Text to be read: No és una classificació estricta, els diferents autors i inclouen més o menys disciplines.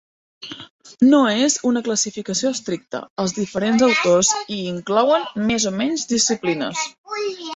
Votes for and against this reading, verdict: 1, 2, rejected